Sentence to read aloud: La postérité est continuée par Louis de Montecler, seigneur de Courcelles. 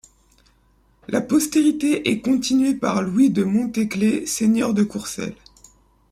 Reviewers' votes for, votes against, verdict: 0, 2, rejected